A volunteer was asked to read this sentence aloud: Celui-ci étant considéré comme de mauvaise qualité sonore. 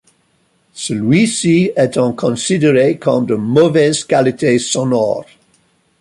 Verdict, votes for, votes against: accepted, 2, 0